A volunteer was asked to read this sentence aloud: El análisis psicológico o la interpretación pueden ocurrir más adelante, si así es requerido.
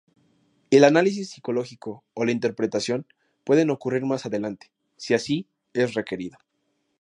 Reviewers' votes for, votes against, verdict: 2, 2, rejected